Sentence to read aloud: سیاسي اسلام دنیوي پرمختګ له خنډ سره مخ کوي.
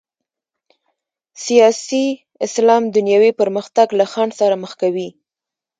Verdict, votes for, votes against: rejected, 1, 2